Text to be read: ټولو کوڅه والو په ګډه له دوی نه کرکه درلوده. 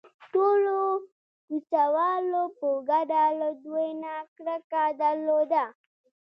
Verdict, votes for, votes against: rejected, 1, 2